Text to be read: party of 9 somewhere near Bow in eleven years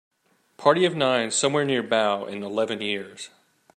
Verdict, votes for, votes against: rejected, 0, 2